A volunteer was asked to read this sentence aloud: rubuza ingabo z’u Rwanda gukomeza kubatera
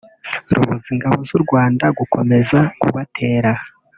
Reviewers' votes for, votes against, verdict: 0, 2, rejected